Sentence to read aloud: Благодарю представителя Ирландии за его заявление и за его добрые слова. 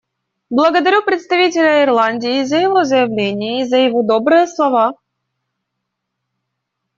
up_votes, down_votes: 2, 1